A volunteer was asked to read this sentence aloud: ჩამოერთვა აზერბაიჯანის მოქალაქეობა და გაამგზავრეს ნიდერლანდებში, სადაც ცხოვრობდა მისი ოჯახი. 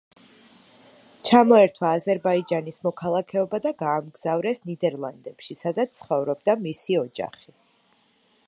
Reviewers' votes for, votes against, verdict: 2, 1, accepted